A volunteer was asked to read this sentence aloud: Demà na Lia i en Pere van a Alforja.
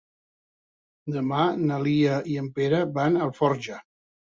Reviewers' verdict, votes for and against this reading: accepted, 3, 0